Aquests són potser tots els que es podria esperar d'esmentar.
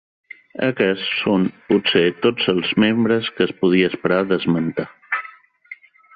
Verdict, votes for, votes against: rejected, 1, 2